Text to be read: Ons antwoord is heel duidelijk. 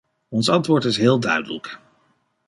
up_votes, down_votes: 1, 2